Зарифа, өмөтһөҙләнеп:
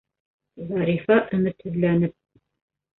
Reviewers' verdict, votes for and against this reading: rejected, 1, 2